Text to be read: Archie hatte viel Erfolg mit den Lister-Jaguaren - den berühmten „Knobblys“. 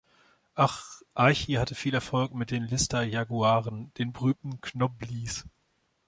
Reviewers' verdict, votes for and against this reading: rejected, 0, 3